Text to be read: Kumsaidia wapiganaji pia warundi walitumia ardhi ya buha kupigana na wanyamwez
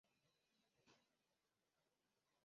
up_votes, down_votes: 0, 2